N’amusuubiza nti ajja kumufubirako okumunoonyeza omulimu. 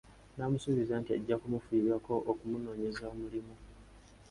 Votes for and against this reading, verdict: 2, 0, accepted